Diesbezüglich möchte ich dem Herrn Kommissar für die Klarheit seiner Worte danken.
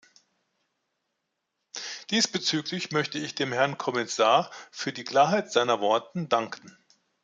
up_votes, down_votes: 0, 2